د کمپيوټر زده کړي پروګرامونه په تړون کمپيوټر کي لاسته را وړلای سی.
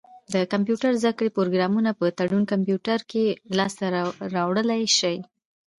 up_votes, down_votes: 1, 2